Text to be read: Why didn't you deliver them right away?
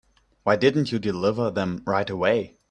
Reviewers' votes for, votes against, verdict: 2, 0, accepted